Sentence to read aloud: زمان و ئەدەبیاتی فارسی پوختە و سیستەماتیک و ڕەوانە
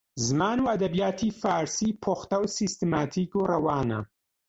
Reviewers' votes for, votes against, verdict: 2, 0, accepted